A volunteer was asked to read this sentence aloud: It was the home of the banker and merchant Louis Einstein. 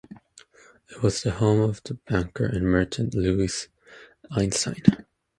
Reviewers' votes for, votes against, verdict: 2, 0, accepted